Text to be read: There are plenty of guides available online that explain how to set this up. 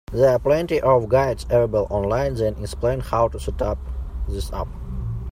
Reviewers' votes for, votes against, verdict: 0, 2, rejected